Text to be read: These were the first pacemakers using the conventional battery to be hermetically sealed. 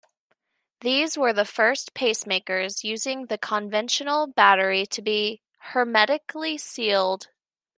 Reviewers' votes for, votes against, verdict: 1, 2, rejected